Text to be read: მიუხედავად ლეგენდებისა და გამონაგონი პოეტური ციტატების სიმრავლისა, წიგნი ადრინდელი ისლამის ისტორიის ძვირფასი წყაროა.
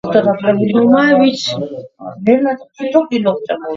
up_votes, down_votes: 0, 2